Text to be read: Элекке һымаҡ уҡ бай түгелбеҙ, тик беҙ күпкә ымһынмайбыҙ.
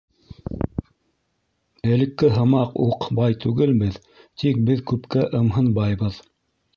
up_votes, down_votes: 1, 2